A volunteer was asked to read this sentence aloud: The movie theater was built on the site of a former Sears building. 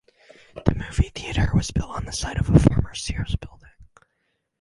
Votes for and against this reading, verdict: 0, 2, rejected